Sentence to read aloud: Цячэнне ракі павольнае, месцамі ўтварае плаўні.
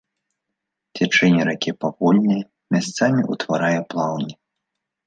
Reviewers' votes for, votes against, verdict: 1, 2, rejected